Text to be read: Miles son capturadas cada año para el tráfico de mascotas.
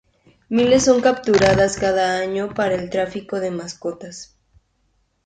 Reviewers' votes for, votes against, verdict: 2, 0, accepted